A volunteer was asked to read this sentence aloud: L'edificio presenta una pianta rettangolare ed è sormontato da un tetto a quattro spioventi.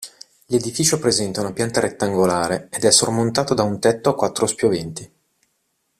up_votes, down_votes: 2, 0